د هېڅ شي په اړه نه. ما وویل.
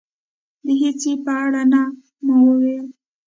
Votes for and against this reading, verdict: 2, 1, accepted